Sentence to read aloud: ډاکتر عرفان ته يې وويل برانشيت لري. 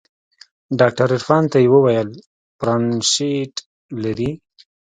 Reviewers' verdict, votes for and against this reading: accepted, 2, 0